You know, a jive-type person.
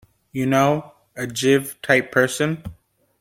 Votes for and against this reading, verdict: 0, 2, rejected